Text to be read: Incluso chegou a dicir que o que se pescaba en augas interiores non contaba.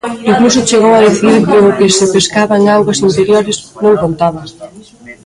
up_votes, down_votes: 2, 0